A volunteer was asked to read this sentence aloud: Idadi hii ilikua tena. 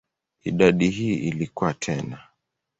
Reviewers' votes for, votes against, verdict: 14, 2, accepted